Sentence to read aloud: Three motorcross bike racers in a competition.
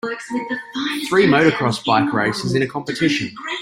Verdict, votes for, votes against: rejected, 1, 2